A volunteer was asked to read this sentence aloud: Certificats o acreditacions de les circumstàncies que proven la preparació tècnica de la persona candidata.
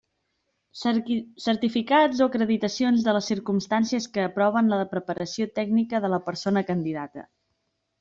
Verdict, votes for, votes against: rejected, 0, 2